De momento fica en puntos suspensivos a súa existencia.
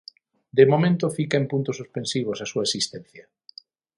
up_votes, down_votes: 6, 0